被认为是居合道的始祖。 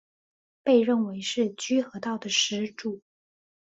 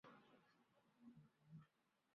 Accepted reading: first